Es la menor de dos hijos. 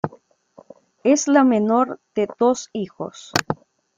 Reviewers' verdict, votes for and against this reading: accepted, 2, 0